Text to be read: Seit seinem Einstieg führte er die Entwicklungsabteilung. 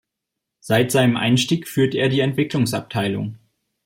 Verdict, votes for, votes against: accepted, 3, 0